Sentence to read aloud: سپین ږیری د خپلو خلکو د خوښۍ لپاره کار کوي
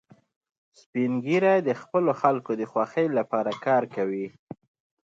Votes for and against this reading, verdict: 2, 0, accepted